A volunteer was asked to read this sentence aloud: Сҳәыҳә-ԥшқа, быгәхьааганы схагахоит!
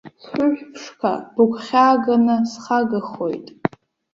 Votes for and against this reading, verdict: 1, 2, rejected